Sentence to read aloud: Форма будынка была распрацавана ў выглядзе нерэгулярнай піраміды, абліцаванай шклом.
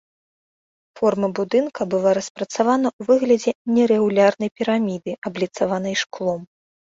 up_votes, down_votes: 2, 0